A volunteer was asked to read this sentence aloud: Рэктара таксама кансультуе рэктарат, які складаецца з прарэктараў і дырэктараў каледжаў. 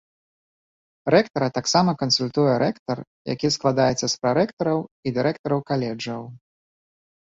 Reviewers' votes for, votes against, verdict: 0, 2, rejected